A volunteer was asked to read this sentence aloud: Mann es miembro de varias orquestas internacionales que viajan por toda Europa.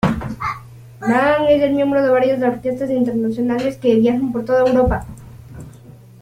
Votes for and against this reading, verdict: 0, 2, rejected